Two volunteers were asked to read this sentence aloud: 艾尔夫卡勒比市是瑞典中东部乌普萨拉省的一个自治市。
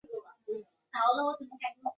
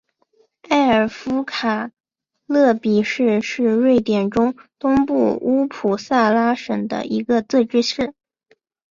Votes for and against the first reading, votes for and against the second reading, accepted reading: 0, 2, 2, 0, second